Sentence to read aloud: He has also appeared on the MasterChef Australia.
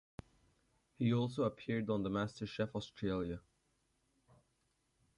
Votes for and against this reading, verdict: 0, 2, rejected